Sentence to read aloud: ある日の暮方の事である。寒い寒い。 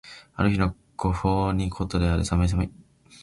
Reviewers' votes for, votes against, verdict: 0, 2, rejected